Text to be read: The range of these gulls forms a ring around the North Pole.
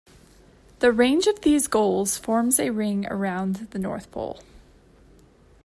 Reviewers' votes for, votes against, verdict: 1, 2, rejected